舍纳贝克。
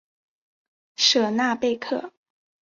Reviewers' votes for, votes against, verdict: 2, 0, accepted